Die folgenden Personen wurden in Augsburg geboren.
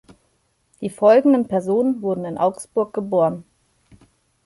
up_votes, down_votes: 2, 0